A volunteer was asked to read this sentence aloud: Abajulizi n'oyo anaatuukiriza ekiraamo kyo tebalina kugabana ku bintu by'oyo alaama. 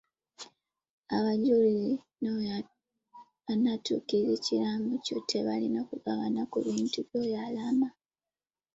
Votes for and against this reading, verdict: 1, 2, rejected